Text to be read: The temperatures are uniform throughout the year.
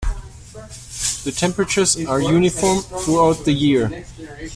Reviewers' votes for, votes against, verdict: 2, 0, accepted